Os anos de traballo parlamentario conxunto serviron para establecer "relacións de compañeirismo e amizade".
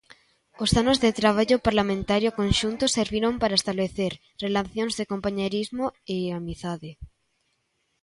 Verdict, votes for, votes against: rejected, 1, 2